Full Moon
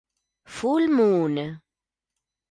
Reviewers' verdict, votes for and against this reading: rejected, 1, 2